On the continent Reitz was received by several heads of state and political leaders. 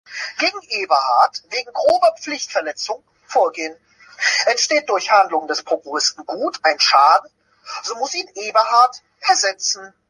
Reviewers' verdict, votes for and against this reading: rejected, 0, 2